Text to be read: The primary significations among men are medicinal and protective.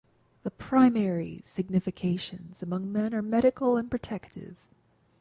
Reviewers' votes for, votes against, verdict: 4, 2, accepted